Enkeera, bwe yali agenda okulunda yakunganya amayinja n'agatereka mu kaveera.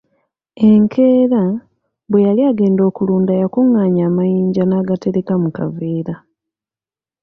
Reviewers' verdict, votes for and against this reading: accepted, 2, 0